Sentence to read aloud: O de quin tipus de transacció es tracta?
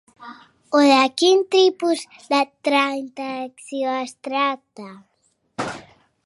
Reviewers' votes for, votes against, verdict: 1, 2, rejected